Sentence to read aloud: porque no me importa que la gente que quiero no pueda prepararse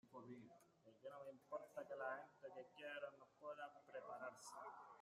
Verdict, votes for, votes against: rejected, 0, 2